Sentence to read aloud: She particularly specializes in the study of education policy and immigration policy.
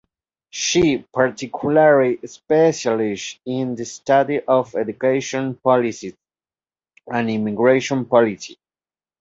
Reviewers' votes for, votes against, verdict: 0, 2, rejected